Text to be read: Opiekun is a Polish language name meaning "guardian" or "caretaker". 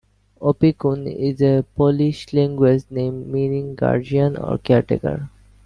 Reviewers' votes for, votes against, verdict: 2, 0, accepted